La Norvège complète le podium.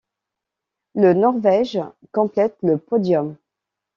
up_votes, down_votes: 0, 2